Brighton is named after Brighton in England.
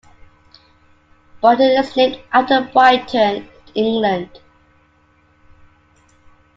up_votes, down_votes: 0, 2